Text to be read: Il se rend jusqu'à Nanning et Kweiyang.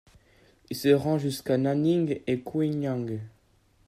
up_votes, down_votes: 2, 0